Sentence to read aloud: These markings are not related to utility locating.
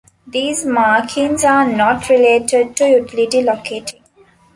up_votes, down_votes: 1, 2